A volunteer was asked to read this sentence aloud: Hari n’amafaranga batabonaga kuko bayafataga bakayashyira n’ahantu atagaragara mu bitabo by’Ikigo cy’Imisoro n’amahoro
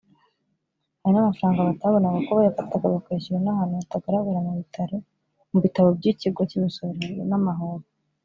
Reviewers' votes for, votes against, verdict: 2, 3, rejected